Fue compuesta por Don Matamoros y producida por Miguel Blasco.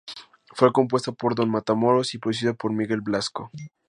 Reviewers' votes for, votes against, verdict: 4, 0, accepted